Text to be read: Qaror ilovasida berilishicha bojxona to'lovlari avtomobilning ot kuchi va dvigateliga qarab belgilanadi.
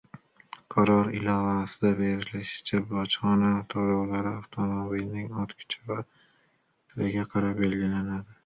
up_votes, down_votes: 0, 2